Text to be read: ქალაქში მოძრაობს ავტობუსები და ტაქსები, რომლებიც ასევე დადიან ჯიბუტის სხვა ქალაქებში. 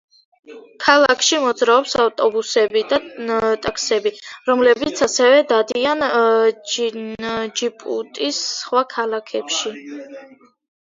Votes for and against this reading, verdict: 0, 2, rejected